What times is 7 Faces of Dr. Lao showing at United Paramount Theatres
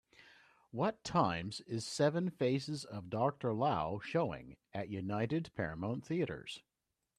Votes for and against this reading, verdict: 0, 2, rejected